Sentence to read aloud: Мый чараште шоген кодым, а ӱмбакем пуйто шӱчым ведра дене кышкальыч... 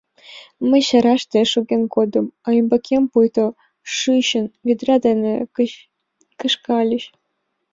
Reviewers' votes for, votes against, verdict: 2, 3, rejected